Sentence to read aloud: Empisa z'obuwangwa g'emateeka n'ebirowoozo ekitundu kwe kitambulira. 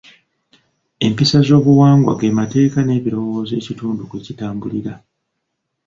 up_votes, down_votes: 2, 1